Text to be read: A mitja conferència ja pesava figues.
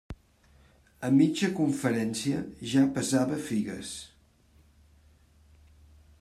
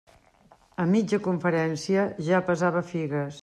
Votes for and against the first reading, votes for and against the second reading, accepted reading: 0, 2, 3, 0, second